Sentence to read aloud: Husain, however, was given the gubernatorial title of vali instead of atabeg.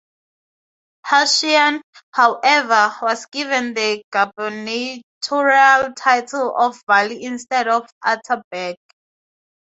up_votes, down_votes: 2, 0